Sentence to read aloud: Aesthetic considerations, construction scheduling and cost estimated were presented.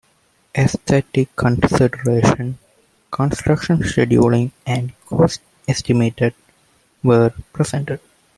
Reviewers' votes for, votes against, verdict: 1, 2, rejected